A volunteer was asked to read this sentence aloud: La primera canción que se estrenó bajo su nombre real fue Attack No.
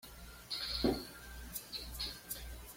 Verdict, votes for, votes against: rejected, 1, 2